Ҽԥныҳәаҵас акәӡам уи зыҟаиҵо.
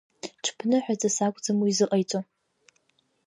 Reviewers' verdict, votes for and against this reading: rejected, 1, 2